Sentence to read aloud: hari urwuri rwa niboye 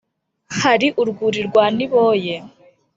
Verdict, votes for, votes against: accepted, 2, 0